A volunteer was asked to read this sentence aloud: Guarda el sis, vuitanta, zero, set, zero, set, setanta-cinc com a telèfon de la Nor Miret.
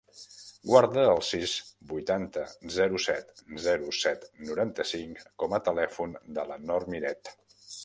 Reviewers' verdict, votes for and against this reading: rejected, 0, 2